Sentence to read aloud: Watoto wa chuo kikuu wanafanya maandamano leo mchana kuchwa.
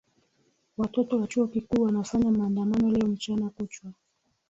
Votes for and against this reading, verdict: 5, 0, accepted